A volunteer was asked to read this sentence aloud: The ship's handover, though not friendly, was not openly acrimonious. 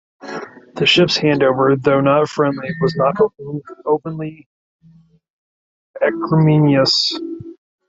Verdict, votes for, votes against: rejected, 0, 2